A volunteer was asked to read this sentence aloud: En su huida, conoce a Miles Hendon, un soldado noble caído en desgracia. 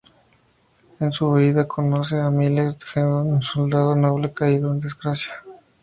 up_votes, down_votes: 2, 0